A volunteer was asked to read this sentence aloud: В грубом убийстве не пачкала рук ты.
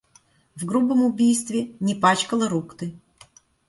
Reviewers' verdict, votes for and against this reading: accepted, 2, 0